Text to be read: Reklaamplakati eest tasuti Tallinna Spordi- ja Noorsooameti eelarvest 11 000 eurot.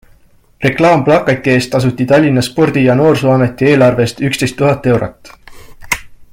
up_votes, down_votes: 0, 2